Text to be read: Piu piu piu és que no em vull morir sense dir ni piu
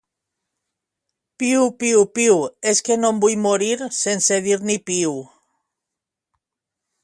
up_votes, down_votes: 2, 0